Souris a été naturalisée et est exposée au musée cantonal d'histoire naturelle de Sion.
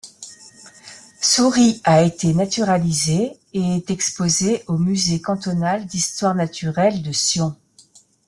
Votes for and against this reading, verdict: 2, 0, accepted